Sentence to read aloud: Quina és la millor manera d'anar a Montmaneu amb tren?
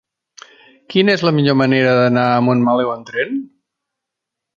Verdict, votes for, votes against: rejected, 0, 2